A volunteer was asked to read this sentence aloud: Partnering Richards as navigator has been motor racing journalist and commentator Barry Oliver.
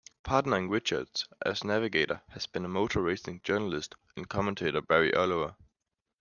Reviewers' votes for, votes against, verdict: 2, 0, accepted